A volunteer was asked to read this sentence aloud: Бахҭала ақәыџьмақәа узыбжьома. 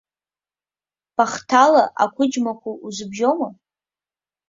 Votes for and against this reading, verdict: 2, 1, accepted